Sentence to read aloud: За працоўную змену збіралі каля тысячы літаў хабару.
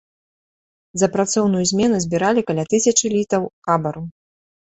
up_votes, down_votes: 2, 0